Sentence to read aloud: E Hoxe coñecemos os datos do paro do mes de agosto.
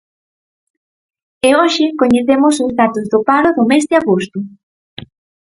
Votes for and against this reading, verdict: 4, 0, accepted